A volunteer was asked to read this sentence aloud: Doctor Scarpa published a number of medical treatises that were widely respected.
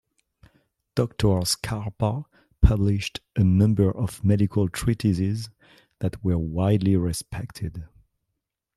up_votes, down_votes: 2, 0